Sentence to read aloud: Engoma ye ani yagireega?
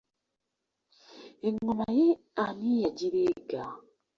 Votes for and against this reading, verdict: 0, 2, rejected